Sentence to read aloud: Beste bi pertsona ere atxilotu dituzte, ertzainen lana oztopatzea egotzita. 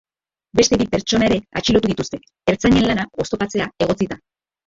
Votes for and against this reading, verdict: 2, 2, rejected